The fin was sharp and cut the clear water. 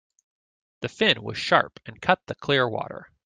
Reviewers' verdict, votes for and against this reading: accepted, 2, 0